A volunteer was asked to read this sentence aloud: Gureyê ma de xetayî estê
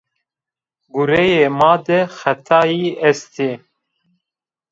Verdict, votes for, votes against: accepted, 2, 0